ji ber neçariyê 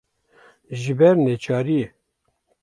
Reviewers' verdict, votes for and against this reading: accepted, 2, 0